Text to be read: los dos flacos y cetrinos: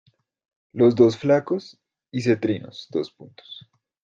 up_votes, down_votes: 0, 2